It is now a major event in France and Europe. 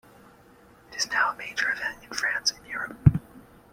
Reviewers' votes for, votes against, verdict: 2, 0, accepted